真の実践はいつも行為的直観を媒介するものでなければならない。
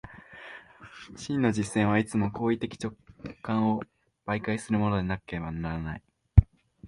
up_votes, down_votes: 2, 0